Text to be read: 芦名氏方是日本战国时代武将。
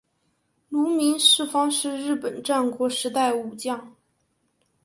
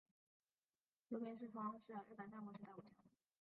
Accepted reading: first